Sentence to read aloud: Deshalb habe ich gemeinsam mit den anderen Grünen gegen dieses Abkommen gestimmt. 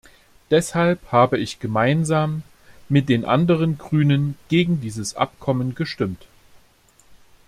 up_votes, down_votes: 2, 0